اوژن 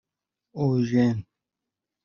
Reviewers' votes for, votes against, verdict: 1, 2, rejected